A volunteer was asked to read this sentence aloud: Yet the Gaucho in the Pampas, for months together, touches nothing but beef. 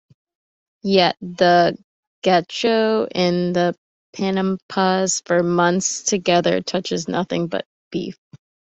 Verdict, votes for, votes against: rejected, 0, 2